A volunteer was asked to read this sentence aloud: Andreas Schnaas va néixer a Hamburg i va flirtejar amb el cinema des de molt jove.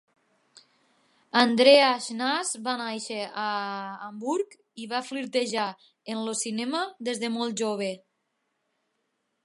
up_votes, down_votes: 1, 2